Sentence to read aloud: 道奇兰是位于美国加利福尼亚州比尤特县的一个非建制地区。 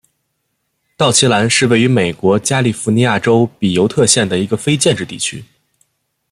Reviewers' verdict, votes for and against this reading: accepted, 2, 0